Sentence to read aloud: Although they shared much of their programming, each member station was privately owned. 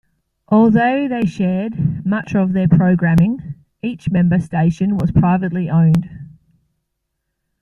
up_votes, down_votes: 2, 0